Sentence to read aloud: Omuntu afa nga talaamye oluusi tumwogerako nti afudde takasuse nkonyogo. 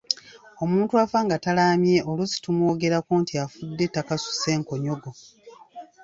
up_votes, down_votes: 2, 0